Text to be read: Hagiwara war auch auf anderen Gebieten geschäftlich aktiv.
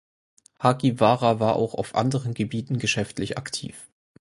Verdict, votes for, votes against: accepted, 4, 0